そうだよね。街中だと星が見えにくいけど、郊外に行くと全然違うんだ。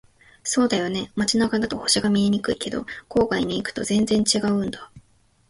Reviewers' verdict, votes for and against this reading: accepted, 2, 0